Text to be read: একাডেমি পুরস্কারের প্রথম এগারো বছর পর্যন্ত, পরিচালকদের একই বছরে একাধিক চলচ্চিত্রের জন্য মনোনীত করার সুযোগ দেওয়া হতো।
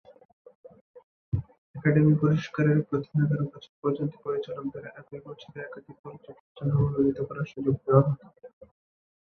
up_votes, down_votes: 0, 2